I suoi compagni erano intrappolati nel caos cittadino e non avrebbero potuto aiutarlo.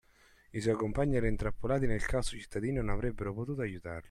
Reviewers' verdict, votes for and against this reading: accepted, 2, 0